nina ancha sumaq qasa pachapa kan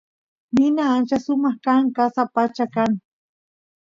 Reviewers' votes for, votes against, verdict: 0, 2, rejected